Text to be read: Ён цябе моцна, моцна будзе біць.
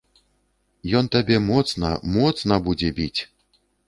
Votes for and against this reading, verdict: 0, 2, rejected